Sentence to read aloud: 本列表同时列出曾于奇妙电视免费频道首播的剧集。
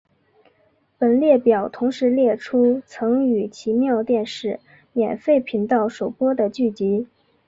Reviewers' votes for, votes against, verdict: 2, 1, accepted